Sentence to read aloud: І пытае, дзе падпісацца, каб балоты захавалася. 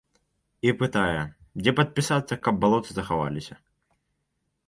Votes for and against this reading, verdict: 2, 0, accepted